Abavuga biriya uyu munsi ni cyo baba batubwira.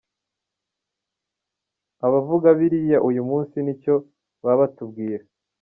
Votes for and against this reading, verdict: 0, 2, rejected